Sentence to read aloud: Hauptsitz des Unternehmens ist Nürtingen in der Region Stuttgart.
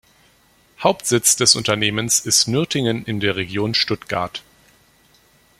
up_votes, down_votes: 2, 0